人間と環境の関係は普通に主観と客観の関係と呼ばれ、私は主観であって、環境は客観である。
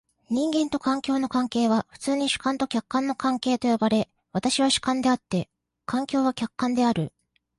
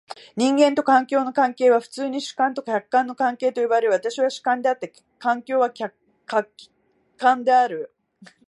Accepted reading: first